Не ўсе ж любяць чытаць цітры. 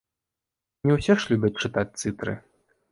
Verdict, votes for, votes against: rejected, 1, 2